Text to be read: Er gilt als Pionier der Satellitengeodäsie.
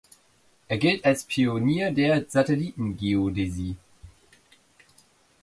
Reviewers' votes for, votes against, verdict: 2, 0, accepted